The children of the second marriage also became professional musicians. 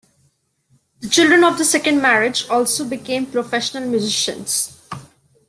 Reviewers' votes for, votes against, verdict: 1, 2, rejected